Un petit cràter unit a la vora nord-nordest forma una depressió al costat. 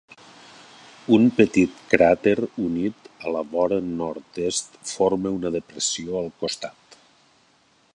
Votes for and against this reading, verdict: 0, 2, rejected